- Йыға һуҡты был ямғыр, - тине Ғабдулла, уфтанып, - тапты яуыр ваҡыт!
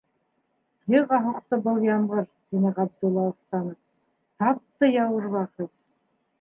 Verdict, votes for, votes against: rejected, 1, 2